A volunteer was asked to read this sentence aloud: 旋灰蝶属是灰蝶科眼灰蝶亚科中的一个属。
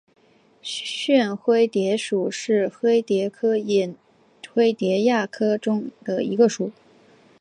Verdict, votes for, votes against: rejected, 0, 2